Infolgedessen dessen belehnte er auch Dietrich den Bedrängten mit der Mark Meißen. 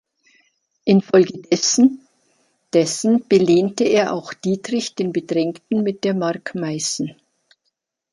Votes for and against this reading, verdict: 1, 3, rejected